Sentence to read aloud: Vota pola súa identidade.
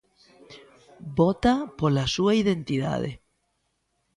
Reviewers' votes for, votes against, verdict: 2, 0, accepted